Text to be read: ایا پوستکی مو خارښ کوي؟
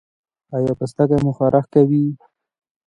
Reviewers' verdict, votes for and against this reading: rejected, 0, 2